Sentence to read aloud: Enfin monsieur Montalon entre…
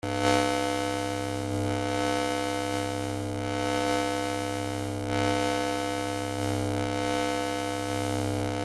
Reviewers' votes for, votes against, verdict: 0, 2, rejected